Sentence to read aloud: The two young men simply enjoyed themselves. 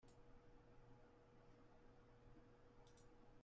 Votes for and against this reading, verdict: 0, 2, rejected